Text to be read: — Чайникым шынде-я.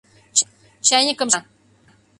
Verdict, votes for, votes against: rejected, 0, 2